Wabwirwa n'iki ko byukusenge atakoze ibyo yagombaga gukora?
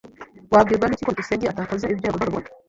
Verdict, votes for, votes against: rejected, 1, 2